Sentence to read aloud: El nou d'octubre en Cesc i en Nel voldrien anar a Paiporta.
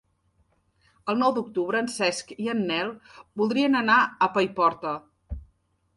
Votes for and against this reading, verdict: 3, 0, accepted